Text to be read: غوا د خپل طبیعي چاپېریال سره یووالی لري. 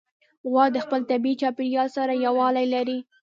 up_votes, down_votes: 2, 0